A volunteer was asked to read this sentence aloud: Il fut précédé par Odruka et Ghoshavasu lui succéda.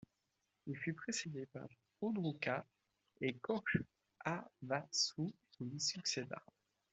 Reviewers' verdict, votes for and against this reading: rejected, 1, 2